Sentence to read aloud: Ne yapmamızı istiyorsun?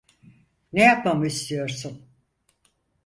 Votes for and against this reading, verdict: 0, 4, rejected